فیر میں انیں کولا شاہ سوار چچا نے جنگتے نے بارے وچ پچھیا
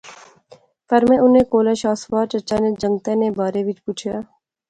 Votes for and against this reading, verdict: 2, 0, accepted